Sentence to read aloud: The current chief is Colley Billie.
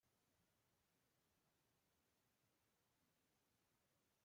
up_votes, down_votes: 0, 2